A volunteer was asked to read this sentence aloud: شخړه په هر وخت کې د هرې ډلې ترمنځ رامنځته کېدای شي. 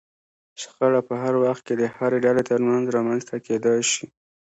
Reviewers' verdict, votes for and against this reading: accepted, 2, 0